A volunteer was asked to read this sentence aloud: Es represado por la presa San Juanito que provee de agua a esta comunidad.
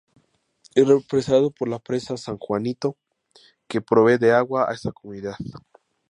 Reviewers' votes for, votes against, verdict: 0, 2, rejected